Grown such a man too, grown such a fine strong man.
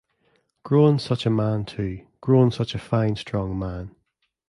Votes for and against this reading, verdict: 2, 0, accepted